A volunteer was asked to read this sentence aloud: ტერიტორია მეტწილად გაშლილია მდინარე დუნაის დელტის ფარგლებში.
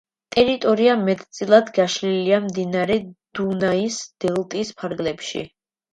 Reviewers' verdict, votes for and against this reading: accepted, 2, 0